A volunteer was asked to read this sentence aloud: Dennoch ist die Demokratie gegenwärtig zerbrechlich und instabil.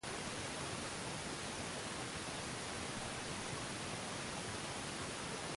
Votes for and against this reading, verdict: 0, 2, rejected